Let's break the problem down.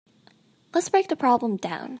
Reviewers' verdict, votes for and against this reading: rejected, 1, 2